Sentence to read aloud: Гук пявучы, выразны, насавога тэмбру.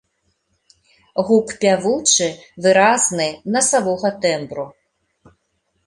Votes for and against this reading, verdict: 2, 0, accepted